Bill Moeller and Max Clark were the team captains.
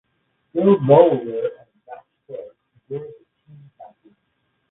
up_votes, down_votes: 0, 2